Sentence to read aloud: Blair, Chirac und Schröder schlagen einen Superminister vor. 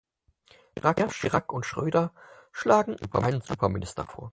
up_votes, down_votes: 0, 4